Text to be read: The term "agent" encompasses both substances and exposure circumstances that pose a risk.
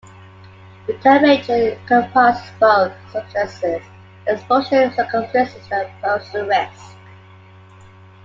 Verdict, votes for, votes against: rejected, 0, 2